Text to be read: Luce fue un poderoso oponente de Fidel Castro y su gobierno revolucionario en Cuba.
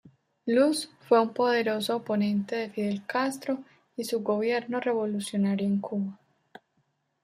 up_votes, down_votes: 2, 0